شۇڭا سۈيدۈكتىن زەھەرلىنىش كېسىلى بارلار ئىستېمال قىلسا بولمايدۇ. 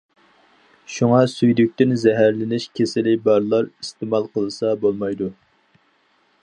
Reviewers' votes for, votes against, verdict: 4, 0, accepted